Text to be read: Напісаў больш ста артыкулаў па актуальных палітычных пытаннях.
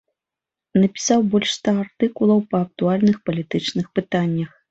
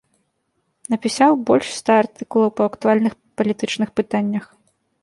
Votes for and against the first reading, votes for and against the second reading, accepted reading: 2, 0, 1, 2, first